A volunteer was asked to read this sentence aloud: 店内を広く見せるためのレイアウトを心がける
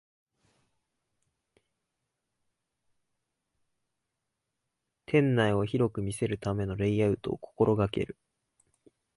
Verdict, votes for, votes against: accepted, 3, 1